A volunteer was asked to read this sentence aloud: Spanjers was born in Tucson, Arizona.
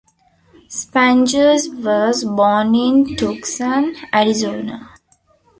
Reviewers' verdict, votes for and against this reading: rejected, 0, 2